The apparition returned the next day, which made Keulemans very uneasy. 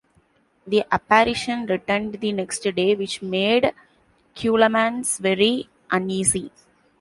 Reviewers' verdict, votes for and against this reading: rejected, 1, 2